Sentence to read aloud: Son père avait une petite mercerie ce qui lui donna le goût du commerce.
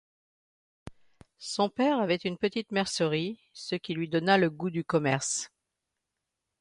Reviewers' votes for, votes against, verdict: 2, 0, accepted